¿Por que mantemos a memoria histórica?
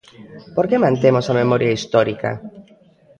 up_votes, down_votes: 1, 2